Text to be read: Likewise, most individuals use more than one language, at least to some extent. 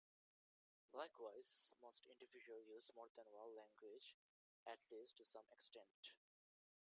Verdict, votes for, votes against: rejected, 0, 2